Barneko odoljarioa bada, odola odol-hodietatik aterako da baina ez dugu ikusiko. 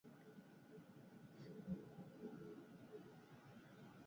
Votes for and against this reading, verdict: 0, 8, rejected